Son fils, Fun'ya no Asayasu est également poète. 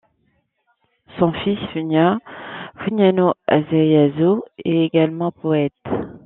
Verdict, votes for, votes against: rejected, 0, 2